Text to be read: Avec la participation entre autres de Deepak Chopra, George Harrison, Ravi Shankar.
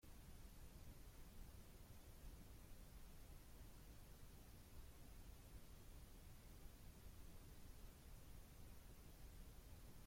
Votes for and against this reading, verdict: 0, 2, rejected